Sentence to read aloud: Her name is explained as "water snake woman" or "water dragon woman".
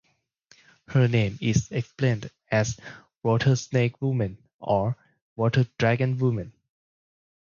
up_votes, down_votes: 4, 0